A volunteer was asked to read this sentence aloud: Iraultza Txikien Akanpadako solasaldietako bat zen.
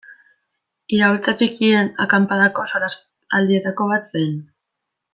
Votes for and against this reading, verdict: 1, 2, rejected